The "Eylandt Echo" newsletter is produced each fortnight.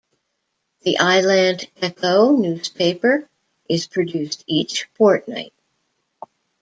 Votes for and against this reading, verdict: 0, 2, rejected